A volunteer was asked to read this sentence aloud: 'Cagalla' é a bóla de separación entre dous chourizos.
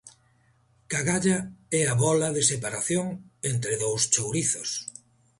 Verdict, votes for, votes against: accepted, 2, 0